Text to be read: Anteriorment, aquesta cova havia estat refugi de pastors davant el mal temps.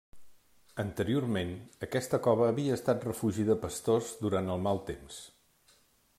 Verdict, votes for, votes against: rejected, 0, 2